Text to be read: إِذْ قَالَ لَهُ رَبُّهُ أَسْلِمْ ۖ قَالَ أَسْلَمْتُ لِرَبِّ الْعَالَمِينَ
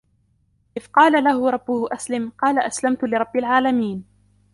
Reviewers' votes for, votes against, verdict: 2, 1, accepted